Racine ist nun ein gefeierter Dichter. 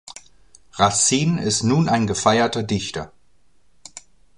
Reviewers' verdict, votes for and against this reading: accepted, 2, 1